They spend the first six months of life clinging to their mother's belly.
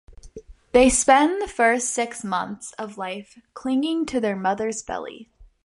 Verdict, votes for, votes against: accepted, 2, 0